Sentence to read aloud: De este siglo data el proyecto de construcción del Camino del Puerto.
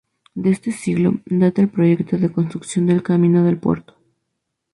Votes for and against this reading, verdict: 2, 0, accepted